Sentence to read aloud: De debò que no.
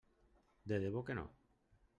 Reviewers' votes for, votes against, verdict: 0, 2, rejected